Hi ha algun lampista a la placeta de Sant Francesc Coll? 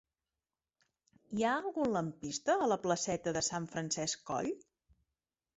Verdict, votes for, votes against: accepted, 5, 0